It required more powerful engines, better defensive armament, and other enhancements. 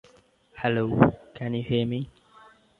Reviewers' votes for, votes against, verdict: 0, 2, rejected